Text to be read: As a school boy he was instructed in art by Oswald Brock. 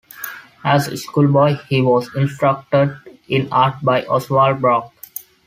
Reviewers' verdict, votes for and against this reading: accepted, 2, 0